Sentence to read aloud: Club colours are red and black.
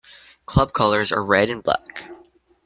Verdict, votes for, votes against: accepted, 2, 0